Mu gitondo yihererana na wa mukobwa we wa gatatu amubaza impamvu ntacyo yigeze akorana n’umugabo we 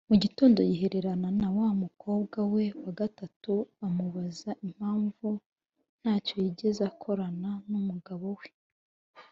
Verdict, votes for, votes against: accepted, 2, 0